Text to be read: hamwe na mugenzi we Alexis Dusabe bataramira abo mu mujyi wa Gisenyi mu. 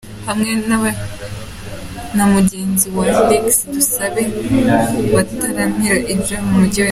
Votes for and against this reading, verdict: 0, 2, rejected